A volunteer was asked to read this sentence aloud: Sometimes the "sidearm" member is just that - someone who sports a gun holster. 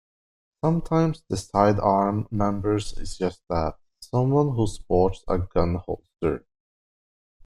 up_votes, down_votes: 0, 2